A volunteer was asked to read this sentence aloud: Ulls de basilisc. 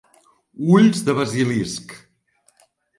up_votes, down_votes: 2, 0